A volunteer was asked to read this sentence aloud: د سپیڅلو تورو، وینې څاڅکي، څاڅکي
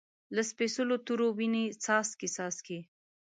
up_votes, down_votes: 2, 0